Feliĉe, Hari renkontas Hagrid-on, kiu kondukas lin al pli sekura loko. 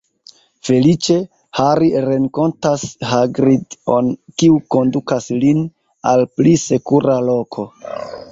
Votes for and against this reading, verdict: 1, 2, rejected